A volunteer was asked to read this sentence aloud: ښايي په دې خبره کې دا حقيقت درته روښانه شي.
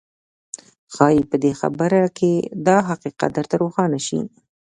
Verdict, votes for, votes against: accepted, 2, 0